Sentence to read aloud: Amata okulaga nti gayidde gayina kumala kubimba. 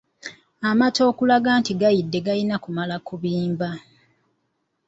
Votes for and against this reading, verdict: 2, 0, accepted